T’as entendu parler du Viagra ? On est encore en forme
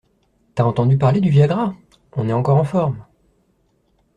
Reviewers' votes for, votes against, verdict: 2, 0, accepted